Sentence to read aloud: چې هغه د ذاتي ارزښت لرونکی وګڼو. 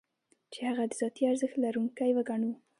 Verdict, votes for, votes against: accepted, 2, 0